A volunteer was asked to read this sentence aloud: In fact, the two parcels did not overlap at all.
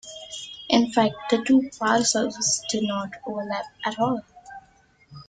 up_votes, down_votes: 2, 1